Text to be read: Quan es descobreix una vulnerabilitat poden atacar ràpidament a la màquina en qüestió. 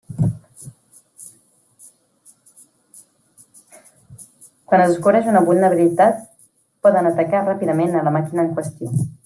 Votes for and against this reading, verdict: 0, 2, rejected